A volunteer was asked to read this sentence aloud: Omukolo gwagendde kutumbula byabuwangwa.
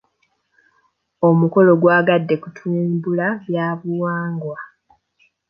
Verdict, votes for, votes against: rejected, 1, 2